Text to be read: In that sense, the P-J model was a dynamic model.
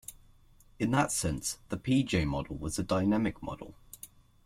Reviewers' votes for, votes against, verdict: 2, 0, accepted